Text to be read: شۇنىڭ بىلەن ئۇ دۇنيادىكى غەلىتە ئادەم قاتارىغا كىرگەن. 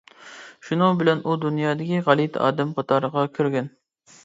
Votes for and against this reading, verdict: 2, 0, accepted